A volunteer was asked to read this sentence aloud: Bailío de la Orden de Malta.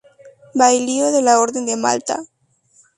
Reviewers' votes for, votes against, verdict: 2, 0, accepted